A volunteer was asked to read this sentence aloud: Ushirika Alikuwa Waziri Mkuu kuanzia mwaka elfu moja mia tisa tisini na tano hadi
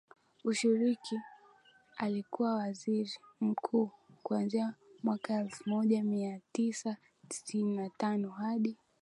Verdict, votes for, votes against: rejected, 2, 4